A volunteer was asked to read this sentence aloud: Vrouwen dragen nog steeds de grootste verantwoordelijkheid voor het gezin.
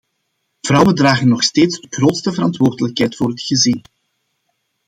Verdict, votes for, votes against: accepted, 2, 0